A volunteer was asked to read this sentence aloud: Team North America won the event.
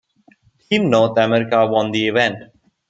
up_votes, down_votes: 2, 0